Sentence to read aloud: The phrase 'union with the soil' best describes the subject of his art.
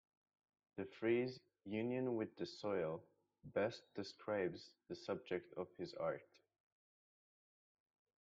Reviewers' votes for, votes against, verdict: 2, 0, accepted